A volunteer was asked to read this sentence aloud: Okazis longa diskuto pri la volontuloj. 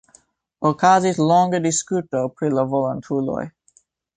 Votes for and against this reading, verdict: 3, 0, accepted